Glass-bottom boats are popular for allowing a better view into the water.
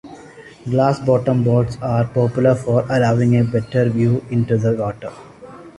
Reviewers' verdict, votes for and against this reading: accepted, 2, 0